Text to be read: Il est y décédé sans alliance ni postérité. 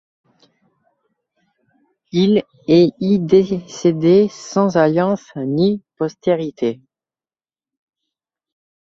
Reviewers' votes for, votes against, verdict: 0, 2, rejected